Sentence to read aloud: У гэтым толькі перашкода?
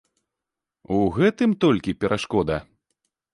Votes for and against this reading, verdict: 2, 0, accepted